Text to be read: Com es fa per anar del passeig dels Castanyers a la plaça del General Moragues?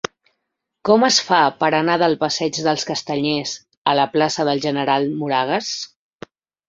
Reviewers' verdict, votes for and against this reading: accepted, 2, 0